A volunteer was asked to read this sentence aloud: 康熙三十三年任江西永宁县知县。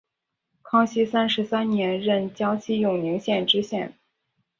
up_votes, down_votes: 2, 0